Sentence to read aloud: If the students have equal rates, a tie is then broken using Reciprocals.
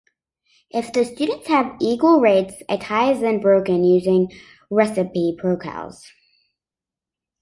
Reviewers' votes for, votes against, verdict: 0, 2, rejected